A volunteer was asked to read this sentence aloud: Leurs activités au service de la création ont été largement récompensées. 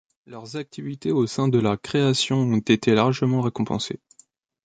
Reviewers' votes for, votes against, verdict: 1, 2, rejected